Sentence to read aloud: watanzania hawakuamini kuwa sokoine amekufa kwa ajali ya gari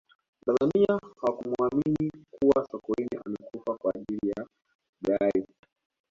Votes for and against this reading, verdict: 1, 2, rejected